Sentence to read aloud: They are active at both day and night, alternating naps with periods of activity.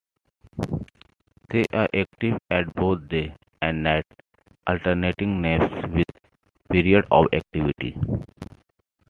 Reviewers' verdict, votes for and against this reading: accepted, 3, 1